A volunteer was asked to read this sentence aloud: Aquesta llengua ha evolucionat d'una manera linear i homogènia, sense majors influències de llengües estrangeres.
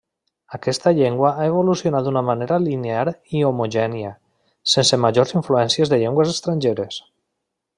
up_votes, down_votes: 3, 0